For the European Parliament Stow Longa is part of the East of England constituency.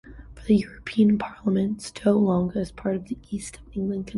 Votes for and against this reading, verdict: 0, 2, rejected